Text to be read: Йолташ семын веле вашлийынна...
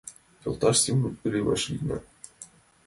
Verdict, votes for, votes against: accepted, 2, 1